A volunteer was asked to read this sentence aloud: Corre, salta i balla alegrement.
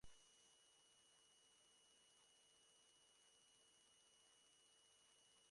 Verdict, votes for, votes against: rejected, 0, 2